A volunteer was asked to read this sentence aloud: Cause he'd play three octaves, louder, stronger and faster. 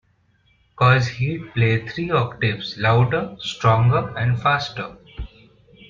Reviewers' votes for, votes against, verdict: 2, 0, accepted